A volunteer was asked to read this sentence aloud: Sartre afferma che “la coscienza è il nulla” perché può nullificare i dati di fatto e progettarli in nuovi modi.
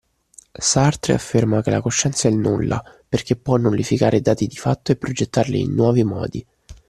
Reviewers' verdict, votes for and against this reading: rejected, 0, 2